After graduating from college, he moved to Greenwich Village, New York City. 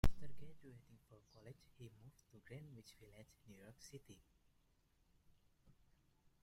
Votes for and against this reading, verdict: 0, 2, rejected